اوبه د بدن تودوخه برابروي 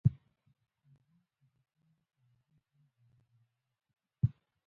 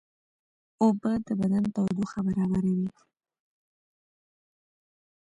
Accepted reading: second